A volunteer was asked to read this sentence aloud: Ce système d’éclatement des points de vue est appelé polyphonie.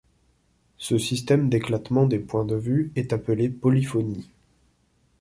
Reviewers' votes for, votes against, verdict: 2, 0, accepted